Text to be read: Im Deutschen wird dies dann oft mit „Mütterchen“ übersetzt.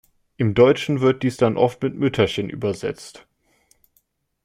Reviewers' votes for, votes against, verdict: 2, 0, accepted